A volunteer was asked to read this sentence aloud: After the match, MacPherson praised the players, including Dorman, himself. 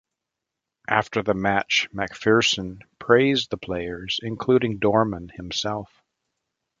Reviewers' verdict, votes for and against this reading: accepted, 2, 0